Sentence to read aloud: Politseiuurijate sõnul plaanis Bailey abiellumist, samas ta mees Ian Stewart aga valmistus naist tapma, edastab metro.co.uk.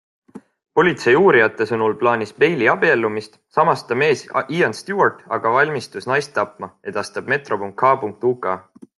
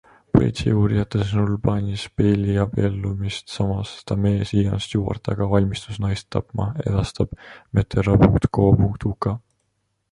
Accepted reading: first